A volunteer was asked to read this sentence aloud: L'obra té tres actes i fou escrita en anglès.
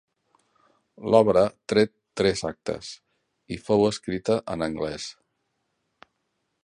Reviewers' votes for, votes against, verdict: 0, 2, rejected